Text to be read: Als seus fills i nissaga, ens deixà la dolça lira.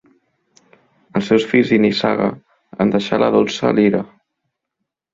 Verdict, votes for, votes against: rejected, 0, 2